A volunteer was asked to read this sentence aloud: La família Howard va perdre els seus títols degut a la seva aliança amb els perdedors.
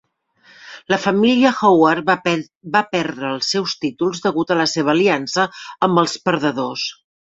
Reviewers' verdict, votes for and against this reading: rejected, 1, 2